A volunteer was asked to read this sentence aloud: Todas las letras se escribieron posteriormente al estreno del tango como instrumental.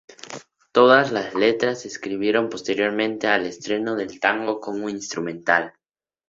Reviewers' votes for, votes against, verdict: 2, 0, accepted